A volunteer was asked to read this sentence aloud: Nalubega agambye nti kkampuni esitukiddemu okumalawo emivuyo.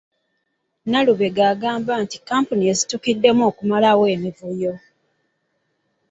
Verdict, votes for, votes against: rejected, 0, 2